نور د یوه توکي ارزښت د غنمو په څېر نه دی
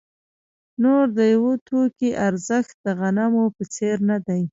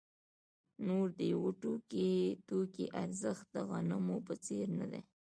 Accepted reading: second